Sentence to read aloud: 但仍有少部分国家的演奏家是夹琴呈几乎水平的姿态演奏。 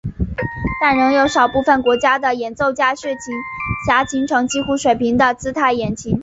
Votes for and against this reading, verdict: 1, 2, rejected